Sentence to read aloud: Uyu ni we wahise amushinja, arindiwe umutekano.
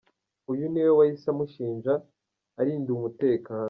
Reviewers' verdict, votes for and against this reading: rejected, 1, 2